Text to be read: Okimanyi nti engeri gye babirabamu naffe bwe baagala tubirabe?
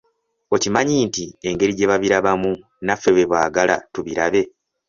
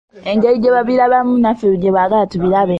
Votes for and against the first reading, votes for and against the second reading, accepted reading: 2, 0, 0, 2, first